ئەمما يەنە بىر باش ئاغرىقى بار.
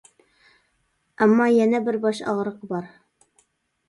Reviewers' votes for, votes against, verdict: 2, 0, accepted